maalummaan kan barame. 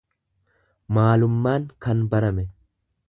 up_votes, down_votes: 2, 0